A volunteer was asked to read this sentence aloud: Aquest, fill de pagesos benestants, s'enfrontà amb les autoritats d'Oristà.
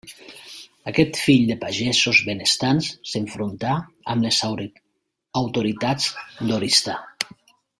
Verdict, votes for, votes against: rejected, 1, 2